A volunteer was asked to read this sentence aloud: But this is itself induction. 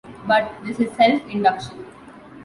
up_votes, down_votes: 0, 2